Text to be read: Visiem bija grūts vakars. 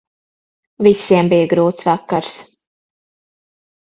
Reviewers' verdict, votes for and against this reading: accepted, 6, 0